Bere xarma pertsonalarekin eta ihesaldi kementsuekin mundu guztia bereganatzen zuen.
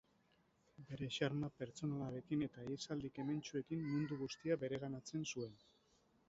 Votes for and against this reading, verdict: 2, 2, rejected